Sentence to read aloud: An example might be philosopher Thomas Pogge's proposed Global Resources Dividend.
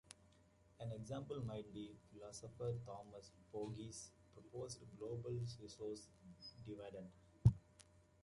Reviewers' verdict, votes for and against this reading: rejected, 1, 2